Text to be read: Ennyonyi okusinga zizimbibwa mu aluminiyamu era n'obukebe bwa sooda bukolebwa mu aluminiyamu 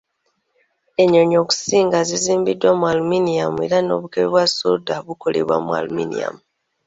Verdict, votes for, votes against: rejected, 0, 2